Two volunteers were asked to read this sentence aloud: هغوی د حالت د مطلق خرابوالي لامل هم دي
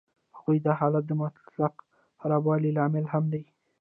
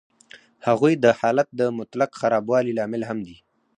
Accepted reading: first